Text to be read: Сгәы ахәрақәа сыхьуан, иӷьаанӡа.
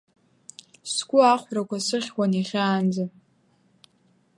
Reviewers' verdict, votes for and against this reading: accepted, 2, 0